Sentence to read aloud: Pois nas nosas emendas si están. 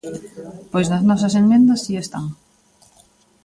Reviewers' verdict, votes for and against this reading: rejected, 1, 2